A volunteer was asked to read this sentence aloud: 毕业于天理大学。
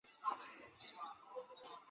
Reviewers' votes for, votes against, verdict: 0, 2, rejected